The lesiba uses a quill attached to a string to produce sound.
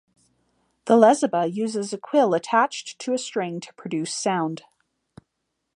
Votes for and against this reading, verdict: 1, 2, rejected